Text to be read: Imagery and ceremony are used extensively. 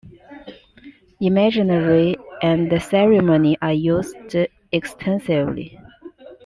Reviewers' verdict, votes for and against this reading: rejected, 0, 2